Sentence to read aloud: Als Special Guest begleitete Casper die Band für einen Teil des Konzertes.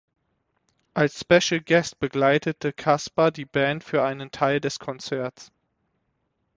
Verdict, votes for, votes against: rejected, 3, 6